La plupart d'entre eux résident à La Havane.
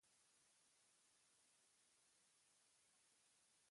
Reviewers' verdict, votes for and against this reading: rejected, 0, 2